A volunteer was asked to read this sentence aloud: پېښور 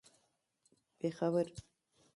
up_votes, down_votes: 2, 1